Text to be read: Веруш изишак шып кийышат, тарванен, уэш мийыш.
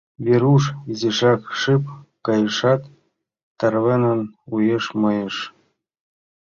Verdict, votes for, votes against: rejected, 0, 4